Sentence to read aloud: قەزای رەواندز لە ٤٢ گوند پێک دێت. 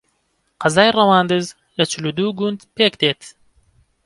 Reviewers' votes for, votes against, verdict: 0, 2, rejected